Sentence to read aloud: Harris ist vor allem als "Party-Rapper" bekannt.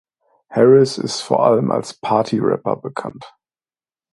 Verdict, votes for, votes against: accepted, 2, 0